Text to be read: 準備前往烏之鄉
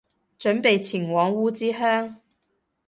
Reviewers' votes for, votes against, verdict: 3, 0, accepted